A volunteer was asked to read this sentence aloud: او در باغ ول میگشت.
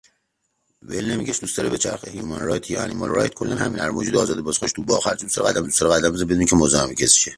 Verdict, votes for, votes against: rejected, 0, 2